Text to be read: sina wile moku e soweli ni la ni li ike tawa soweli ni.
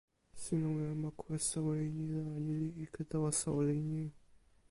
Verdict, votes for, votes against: rejected, 1, 2